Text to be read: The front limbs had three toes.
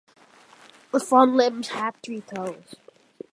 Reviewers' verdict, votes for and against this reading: accepted, 2, 0